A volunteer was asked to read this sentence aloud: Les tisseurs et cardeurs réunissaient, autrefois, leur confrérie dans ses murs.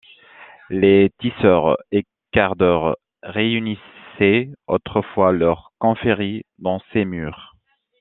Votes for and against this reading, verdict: 1, 2, rejected